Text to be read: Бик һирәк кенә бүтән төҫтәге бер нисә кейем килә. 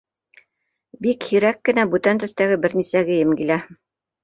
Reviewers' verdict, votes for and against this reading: accepted, 2, 0